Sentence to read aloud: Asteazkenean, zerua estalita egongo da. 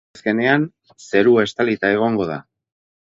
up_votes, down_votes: 0, 4